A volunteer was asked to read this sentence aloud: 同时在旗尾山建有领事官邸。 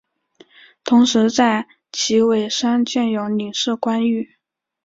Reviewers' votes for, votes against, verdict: 0, 2, rejected